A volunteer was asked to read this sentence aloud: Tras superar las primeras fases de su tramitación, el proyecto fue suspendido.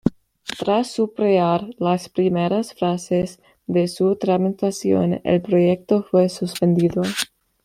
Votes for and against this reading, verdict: 0, 2, rejected